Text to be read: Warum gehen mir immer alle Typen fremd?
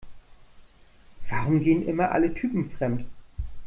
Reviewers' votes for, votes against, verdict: 0, 2, rejected